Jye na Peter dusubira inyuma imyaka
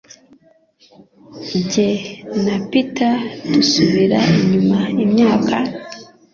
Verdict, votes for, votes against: accepted, 2, 0